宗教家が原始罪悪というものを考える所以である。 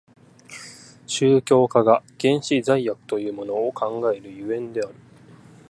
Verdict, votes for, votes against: accepted, 2, 0